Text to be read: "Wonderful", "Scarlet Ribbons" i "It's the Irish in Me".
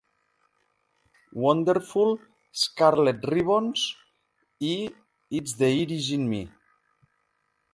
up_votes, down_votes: 0, 2